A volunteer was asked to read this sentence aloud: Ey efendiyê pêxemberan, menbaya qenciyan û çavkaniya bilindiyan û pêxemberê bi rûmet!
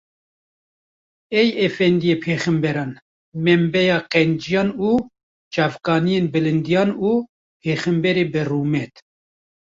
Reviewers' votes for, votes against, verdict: 1, 2, rejected